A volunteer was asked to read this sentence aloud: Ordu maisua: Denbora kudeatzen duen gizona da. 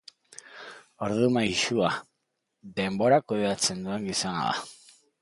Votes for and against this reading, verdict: 2, 0, accepted